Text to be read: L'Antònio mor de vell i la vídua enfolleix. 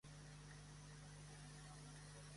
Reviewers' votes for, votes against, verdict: 0, 2, rejected